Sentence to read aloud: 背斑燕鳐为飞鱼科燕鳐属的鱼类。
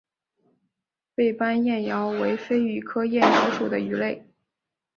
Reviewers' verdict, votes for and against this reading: accepted, 2, 1